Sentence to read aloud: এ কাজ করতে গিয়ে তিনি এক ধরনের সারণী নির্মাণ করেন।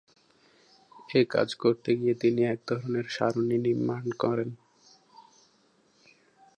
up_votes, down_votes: 5, 1